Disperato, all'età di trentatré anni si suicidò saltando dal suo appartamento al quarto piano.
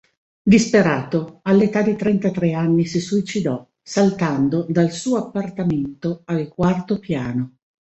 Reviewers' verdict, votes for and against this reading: accepted, 2, 0